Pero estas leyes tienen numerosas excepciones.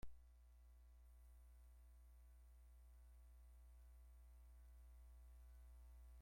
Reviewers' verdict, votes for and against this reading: rejected, 0, 2